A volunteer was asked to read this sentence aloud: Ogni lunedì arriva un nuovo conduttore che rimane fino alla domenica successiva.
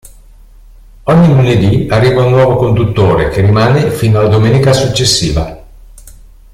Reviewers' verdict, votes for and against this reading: accepted, 2, 0